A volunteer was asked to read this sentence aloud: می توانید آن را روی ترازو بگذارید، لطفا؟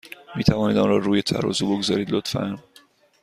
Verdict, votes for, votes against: accepted, 2, 0